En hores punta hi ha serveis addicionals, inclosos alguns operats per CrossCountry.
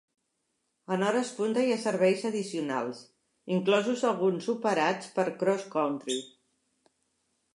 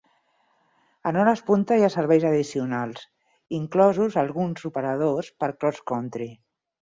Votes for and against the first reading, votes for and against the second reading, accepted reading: 2, 0, 0, 4, first